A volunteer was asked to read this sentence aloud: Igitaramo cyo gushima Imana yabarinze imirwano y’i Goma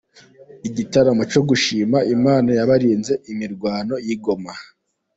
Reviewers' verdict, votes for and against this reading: rejected, 1, 2